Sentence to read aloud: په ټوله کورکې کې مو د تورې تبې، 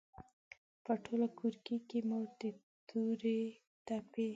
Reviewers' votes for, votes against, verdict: 0, 2, rejected